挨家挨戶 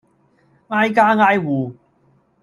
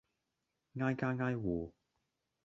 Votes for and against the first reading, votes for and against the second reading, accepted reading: 2, 0, 1, 2, first